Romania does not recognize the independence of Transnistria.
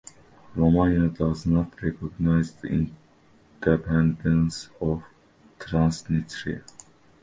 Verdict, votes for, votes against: rejected, 0, 2